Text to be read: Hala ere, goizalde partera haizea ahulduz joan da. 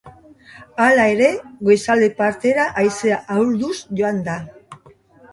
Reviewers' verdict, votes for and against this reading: rejected, 0, 2